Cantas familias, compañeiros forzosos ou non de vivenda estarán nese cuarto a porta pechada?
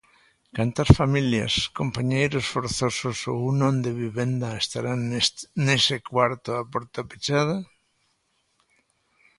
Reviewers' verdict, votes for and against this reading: rejected, 1, 2